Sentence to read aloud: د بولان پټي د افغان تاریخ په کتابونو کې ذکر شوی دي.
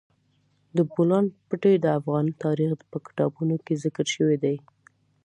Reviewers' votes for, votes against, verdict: 2, 0, accepted